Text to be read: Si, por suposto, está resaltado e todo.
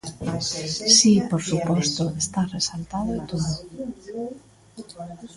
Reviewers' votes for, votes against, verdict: 0, 2, rejected